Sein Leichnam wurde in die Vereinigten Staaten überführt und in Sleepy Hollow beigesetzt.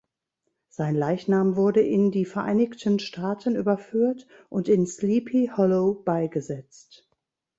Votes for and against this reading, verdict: 0, 2, rejected